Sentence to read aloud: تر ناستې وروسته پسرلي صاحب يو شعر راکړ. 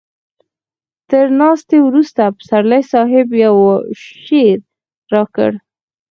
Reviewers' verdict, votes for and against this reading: rejected, 2, 4